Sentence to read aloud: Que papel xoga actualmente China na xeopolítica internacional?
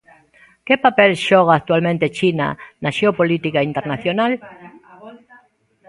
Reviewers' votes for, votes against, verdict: 1, 2, rejected